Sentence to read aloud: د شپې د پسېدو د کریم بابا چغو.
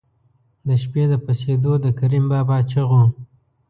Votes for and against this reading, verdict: 2, 0, accepted